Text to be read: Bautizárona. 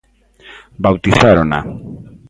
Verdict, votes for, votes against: accepted, 2, 0